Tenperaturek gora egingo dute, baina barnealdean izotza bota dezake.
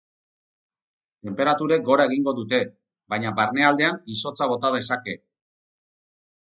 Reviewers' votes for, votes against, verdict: 4, 0, accepted